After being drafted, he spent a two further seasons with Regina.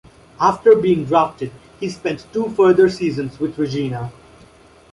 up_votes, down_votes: 0, 2